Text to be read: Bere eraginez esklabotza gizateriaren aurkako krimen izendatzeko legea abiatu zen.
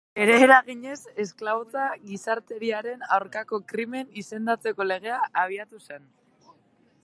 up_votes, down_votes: 2, 0